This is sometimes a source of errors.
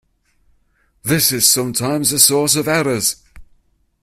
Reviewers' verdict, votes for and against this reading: accepted, 2, 0